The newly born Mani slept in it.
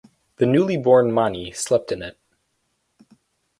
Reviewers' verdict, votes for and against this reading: accepted, 4, 0